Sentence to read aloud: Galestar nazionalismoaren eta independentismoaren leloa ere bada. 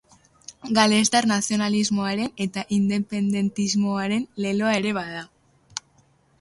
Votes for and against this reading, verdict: 3, 0, accepted